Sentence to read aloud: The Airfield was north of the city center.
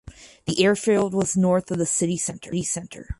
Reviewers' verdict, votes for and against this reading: rejected, 0, 4